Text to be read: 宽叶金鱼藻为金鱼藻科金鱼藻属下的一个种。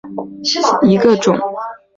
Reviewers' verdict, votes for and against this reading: rejected, 0, 2